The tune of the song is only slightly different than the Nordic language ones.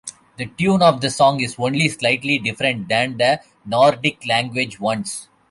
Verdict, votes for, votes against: accepted, 2, 0